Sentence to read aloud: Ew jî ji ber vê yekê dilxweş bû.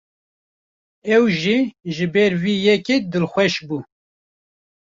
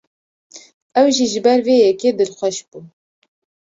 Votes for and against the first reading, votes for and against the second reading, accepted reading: 1, 2, 2, 0, second